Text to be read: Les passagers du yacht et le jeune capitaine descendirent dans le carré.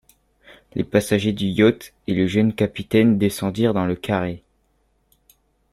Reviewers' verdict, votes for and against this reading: accepted, 2, 0